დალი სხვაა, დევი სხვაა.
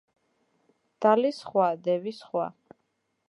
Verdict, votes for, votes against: rejected, 1, 2